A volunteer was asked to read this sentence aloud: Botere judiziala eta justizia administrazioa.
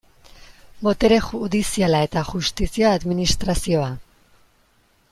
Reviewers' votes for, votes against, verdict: 2, 1, accepted